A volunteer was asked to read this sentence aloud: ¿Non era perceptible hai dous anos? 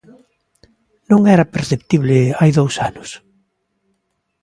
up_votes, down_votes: 2, 0